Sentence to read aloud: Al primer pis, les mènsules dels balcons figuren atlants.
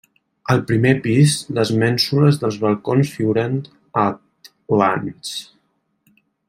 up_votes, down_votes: 0, 2